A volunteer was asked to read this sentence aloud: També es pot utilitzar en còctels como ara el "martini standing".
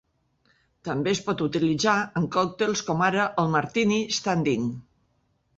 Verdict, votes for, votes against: accepted, 2, 0